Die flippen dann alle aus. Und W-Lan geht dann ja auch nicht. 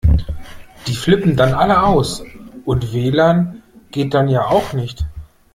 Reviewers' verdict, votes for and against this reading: accepted, 2, 0